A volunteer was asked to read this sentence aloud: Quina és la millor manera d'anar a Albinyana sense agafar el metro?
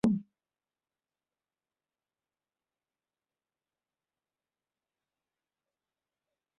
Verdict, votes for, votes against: rejected, 0, 2